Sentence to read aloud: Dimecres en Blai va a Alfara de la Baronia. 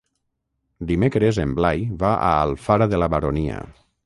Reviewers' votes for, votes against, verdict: 6, 0, accepted